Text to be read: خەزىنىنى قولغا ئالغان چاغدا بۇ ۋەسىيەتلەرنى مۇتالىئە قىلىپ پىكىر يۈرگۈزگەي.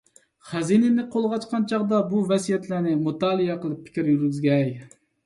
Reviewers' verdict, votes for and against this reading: rejected, 1, 2